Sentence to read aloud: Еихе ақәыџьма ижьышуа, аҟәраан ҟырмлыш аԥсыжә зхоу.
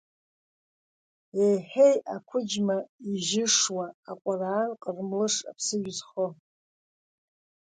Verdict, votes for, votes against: rejected, 0, 2